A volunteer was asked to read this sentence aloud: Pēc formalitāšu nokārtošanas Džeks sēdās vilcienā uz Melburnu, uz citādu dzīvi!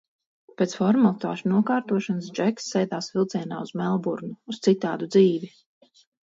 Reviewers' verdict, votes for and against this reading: accepted, 4, 0